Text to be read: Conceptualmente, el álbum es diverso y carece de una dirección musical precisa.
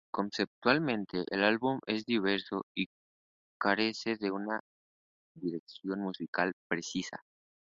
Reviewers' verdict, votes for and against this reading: rejected, 1, 2